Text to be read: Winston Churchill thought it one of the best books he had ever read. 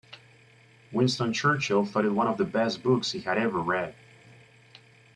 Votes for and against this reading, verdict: 0, 2, rejected